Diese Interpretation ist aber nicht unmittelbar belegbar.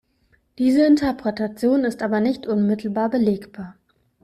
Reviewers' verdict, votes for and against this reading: accepted, 2, 0